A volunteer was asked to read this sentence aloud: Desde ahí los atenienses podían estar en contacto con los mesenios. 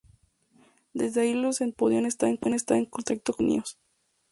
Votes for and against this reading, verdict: 0, 2, rejected